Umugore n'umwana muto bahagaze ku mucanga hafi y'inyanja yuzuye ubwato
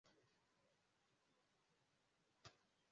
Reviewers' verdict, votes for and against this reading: rejected, 0, 2